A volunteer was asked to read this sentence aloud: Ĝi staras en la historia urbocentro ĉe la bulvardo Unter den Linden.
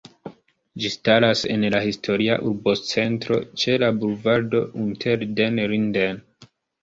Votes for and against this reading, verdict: 2, 0, accepted